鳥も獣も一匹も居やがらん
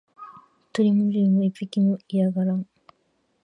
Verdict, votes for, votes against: rejected, 2, 3